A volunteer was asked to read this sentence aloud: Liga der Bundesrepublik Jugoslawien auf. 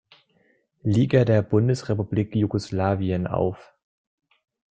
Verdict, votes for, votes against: accepted, 2, 0